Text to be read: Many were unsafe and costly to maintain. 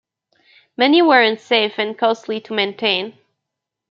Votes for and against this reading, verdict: 2, 0, accepted